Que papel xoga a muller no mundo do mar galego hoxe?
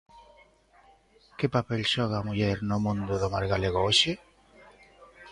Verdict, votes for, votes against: accepted, 2, 1